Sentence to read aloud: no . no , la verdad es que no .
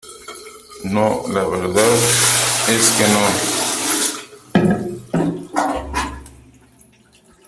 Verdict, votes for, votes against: rejected, 0, 3